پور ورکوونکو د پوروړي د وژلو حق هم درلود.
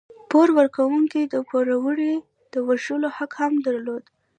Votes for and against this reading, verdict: 0, 2, rejected